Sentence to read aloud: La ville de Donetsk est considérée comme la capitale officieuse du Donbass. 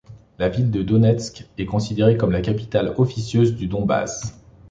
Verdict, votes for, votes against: accepted, 3, 0